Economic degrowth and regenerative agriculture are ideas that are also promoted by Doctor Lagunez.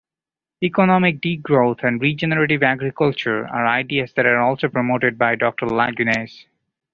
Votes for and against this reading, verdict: 1, 2, rejected